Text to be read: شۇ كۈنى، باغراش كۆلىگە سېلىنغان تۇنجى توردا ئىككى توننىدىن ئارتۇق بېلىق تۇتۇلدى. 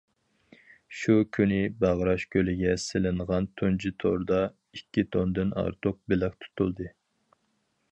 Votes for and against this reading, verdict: 2, 4, rejected